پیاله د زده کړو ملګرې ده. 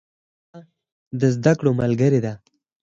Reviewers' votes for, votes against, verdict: 4, 0, accepted